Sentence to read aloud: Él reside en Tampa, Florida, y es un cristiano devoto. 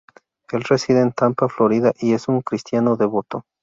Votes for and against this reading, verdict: 2, 0, accepted